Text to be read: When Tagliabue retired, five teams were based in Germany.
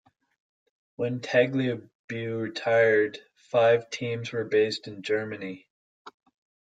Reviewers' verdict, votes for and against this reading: rejected, 0, 2